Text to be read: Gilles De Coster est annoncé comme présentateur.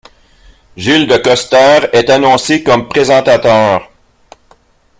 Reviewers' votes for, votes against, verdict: 1, 2, rejected